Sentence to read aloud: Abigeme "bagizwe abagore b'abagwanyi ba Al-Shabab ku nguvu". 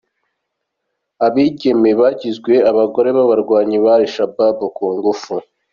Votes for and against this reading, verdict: 1, 2, rejected